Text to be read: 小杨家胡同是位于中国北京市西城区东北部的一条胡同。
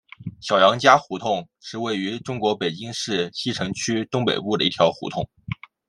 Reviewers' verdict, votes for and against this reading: accepted, 2, 0